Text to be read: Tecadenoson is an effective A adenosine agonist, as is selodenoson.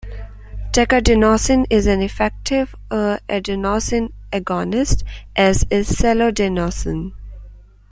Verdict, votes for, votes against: rejected, 1, 2